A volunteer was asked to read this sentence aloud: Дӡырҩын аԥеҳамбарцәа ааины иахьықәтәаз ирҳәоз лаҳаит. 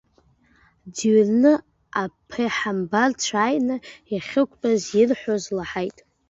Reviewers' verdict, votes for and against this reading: rejected, 0, 2